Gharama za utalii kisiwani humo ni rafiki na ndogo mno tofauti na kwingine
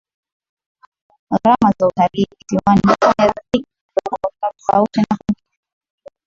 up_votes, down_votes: 1, 3